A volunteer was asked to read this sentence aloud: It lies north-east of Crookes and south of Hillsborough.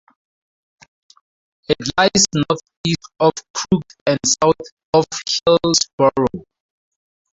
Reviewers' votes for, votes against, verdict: 0, 2, rejected